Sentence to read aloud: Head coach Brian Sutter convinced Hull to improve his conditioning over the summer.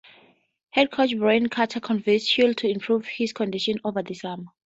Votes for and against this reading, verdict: 0, 2, rejected